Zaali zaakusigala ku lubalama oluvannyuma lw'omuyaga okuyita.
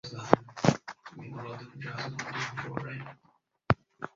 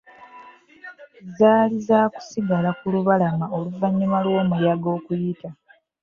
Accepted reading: second